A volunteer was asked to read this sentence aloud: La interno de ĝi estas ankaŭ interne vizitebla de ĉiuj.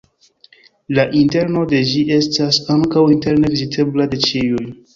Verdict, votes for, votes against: accepted, 2, 0